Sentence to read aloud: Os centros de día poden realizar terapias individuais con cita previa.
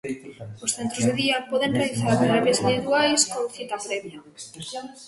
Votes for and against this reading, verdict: 0, 2, rejected